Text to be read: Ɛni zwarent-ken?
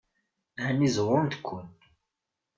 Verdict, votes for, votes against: rejected, 1, 2